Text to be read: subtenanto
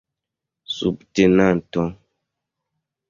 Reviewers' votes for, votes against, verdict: 1, 2, rejected